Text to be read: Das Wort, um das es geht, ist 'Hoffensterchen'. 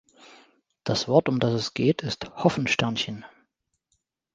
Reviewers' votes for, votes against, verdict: 1, 2, rejected